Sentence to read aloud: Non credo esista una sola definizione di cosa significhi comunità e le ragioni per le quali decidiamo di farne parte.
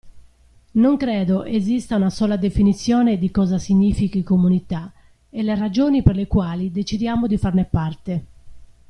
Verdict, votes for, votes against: accepted, 2, 1